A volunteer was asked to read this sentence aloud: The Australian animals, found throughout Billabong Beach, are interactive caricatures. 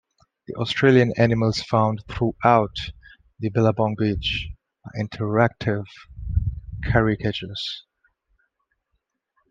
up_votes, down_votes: 1, 2